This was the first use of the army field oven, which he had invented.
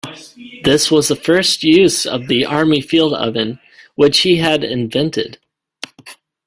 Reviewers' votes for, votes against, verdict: 1, 2, rejected